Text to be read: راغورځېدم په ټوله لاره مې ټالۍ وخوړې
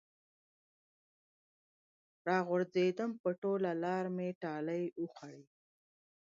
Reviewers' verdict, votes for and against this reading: accepted, 2, 0